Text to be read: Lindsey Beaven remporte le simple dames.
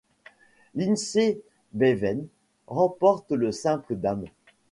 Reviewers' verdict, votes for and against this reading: accepted, 3, 1